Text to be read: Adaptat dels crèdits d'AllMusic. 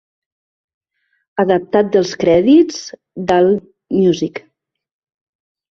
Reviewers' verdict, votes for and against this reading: rejected, 1, 2